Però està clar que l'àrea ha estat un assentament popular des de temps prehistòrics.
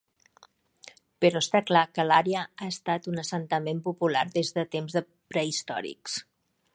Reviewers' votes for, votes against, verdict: 1, 2, rejected